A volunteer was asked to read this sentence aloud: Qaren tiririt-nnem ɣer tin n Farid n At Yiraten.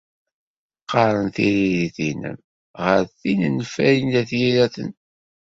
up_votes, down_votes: 1, 2